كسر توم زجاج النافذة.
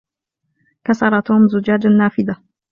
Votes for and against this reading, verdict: 2, 0, accepted